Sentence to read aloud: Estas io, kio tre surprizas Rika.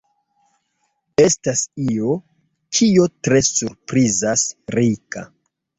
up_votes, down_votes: 4, 0